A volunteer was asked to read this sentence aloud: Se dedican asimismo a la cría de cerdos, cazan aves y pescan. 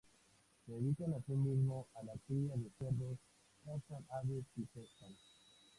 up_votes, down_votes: 0, 2